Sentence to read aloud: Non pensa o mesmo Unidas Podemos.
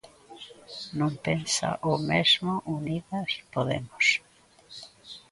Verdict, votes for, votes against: accepted, 2, 0